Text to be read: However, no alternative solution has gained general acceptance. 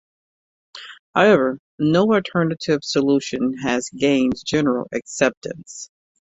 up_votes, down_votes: 2, 0